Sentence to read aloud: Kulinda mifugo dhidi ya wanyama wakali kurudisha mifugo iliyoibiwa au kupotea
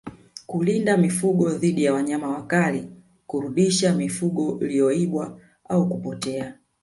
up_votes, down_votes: 0, 2